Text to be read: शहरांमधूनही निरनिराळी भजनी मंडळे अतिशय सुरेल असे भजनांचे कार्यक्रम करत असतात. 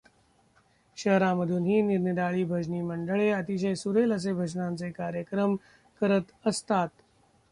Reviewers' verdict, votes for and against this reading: rejected, 1, 2